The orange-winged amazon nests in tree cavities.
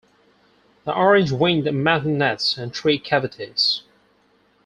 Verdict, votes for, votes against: rejected, 0, 4